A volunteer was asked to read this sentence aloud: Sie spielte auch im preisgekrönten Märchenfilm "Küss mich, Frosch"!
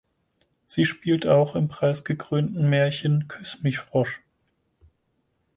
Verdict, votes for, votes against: rejected, 2, 4